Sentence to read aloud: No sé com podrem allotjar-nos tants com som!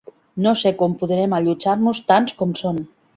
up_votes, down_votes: 2, 0